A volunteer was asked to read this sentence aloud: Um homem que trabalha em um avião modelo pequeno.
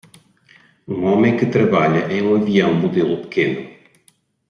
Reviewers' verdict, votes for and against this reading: accepted, 2, 0